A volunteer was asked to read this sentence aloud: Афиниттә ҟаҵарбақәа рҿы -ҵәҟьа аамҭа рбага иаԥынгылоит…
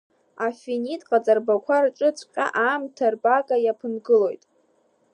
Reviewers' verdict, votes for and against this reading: rejected, 1, 2